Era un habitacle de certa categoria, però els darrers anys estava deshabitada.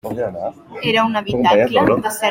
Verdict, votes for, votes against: rejected, 0, 2